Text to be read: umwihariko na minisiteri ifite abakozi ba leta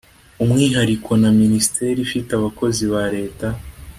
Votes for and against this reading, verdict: 2, 0, accepted